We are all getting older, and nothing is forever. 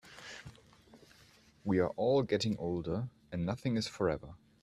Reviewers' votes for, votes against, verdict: 2, 0, accepted